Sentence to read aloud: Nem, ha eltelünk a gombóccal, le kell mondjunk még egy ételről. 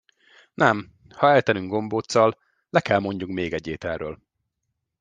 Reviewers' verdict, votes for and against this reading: rejected, 1, 2